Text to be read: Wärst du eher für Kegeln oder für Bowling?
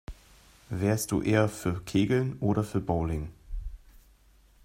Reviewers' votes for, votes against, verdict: 2, 0, accepted